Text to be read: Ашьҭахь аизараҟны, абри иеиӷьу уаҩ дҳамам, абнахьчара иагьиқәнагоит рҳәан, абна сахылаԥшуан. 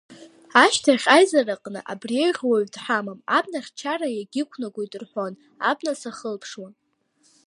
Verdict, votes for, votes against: rejected, 0, 2